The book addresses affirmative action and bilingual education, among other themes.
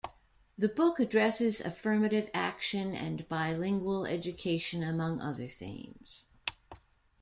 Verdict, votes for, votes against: accepted, 2, 0